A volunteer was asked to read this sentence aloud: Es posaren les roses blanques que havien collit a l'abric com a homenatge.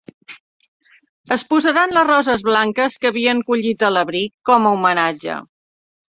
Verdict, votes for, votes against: rejected, 0, 2